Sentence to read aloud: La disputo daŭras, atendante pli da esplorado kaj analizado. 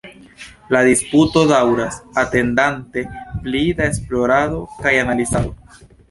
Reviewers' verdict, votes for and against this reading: accepted, 2, 0